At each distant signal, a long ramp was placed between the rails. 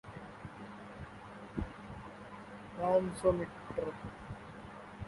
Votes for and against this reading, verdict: 0, 2, rejected